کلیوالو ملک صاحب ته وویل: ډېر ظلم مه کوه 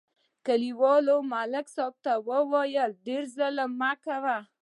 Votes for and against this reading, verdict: 2, 0, accepted